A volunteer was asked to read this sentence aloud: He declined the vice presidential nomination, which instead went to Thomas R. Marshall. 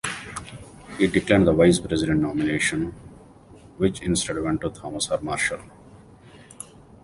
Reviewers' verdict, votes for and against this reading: rejected, 1, 2